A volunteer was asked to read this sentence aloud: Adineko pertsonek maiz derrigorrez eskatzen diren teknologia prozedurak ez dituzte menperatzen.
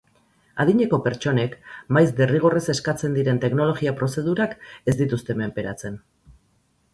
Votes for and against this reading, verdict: 4, 0, accepted